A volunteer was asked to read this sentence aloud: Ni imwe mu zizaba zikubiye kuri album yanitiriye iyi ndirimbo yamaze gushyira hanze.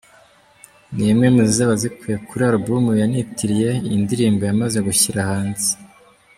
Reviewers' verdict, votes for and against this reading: accepted, 2, 0